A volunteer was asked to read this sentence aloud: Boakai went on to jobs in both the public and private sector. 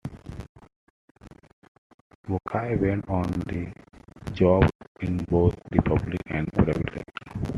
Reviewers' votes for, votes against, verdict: 0, 2, rejected